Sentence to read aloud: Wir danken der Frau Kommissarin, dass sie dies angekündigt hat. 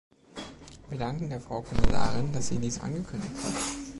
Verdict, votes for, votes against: rejected, 1, 2